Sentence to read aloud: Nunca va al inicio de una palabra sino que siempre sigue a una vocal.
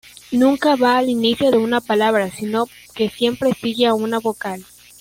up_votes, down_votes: 2, 0